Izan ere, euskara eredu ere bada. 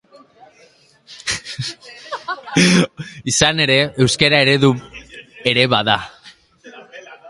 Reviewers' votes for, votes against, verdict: 0, 2, rejected